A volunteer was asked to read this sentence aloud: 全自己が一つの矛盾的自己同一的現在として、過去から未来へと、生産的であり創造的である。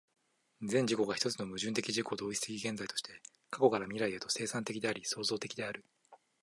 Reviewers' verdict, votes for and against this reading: accepted, 2, 0